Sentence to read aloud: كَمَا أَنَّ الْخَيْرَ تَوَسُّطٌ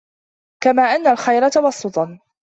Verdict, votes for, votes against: accepted, 2, 0